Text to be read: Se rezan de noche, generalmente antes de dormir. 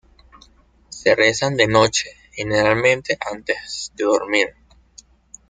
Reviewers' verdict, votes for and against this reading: accepted, 2, 0